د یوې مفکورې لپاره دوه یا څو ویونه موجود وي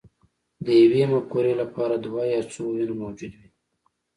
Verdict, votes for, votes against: accepted, 4, 0